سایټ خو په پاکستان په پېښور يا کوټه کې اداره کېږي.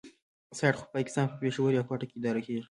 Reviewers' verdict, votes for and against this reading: rejected, 0, 2